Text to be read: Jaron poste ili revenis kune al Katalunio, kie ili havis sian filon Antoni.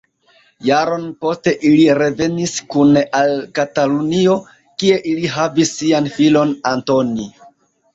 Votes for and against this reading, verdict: 2, 1, accepted